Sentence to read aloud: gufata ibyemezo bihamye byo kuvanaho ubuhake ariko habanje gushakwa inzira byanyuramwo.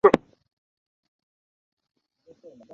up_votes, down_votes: 0, 2